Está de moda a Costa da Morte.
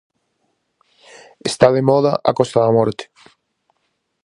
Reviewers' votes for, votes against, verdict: 4, 0, accepted